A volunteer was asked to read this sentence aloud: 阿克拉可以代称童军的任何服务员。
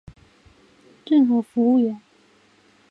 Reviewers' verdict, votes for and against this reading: rejected, 0, 3